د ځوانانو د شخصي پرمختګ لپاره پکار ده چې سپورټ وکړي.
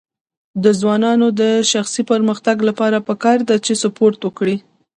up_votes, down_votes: 0, 2